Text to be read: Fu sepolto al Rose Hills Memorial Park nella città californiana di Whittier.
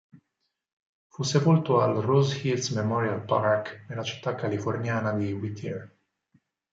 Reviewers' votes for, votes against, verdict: 4, 0, accepted